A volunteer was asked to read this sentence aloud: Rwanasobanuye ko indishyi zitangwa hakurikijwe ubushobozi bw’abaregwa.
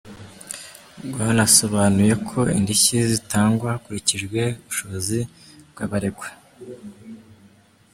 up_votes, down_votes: 2, 1